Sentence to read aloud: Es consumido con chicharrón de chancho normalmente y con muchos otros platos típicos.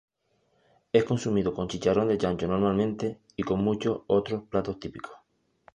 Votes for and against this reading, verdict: 0, 2, rejected